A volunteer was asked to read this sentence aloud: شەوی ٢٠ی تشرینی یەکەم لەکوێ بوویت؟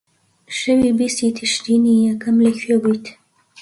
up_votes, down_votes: 0, 2